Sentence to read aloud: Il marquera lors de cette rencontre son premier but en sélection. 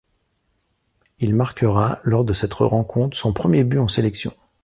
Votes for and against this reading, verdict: 0, 2, rejected